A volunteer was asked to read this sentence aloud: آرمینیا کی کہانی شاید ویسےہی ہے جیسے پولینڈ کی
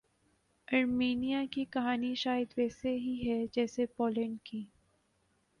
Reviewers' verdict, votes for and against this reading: rejected, 1, 2